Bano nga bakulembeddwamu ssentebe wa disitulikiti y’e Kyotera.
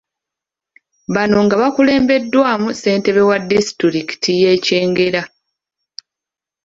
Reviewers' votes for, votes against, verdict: 1, 2, rejected